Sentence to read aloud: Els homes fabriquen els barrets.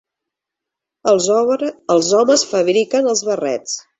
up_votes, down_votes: 0, 2